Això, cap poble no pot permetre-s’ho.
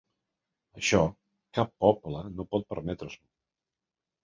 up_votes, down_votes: 3, 0